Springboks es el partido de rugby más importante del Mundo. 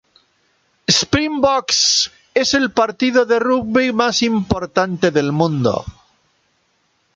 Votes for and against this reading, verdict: 2, 0, accepted